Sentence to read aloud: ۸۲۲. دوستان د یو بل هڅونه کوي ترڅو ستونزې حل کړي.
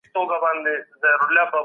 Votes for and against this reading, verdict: 0, 2, rejected